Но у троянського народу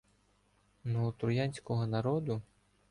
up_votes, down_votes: 2, 0